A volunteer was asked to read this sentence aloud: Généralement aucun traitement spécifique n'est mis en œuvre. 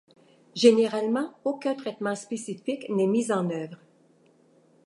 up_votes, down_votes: 2, 0